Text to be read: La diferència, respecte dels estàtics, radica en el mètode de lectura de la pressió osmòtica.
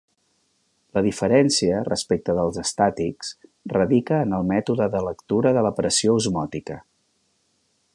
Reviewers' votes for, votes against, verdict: 3, 0, accepted